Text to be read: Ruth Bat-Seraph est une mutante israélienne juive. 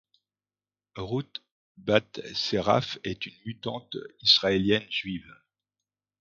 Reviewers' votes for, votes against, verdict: 2, 0, accepted